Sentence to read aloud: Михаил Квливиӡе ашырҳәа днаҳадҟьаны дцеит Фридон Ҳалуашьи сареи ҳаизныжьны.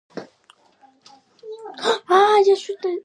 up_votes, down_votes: 0, 2